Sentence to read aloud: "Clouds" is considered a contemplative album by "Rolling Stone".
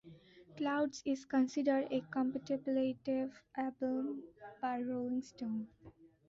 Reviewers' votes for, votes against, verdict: 1, 2, rejected